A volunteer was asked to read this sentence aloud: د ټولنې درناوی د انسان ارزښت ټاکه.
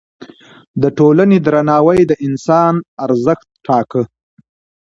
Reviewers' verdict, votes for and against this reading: accepted, 2, 0